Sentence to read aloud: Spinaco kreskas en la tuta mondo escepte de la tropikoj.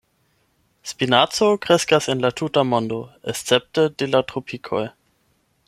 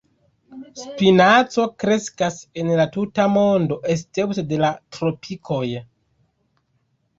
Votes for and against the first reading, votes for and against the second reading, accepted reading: 8, 0, 0, 2, first